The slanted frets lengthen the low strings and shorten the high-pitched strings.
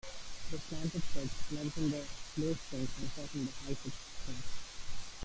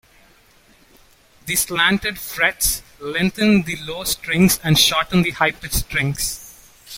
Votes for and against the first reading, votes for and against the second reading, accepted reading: 1, 2, 2, 0, second